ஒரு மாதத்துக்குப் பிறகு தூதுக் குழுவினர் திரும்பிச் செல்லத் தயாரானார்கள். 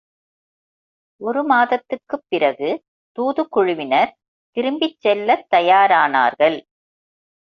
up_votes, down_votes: 2, 1